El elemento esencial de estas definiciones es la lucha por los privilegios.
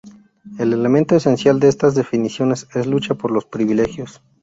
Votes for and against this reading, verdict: 0, 2, rejected